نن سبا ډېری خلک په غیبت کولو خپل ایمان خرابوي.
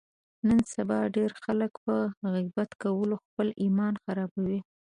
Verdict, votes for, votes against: rejected, 0, 2